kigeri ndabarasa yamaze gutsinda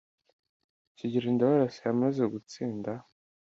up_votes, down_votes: 2, 0